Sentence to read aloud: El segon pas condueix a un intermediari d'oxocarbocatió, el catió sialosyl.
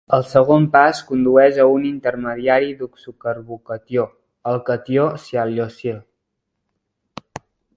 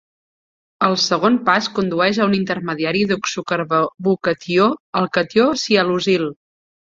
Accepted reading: first